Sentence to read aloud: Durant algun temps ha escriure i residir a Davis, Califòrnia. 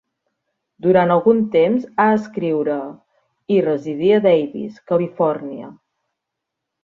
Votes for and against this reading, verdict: 0, 2, rejected